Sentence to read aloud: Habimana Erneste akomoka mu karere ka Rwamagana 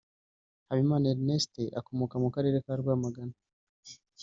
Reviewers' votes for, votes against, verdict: 2, 1, accepted